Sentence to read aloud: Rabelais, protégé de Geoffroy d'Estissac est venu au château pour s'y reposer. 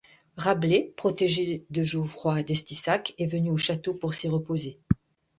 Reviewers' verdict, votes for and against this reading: rejected, 0, 2